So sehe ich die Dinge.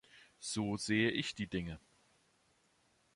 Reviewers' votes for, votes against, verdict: 2, 0, accepted